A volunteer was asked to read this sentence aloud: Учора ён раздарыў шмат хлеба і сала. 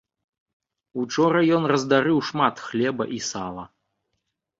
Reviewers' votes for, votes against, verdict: 2, 0, accepted